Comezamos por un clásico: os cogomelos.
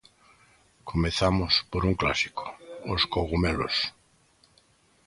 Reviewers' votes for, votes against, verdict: 1, 2, rejected